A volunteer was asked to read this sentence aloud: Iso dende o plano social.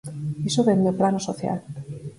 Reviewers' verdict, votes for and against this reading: accepted, 4, 2